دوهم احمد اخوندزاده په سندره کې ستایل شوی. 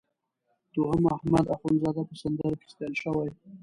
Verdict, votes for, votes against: rejected, 1, 2